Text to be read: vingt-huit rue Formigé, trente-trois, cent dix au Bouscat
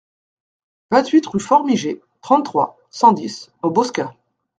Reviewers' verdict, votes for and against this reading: rejected, 1, 2